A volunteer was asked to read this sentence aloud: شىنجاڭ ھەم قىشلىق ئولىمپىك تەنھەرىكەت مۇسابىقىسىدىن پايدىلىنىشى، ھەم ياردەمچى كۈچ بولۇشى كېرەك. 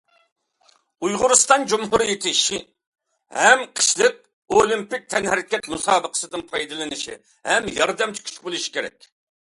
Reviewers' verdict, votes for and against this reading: rejected, 0, 3